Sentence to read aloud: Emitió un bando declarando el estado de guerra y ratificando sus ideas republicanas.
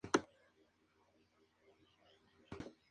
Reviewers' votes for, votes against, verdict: 0, 2, rejected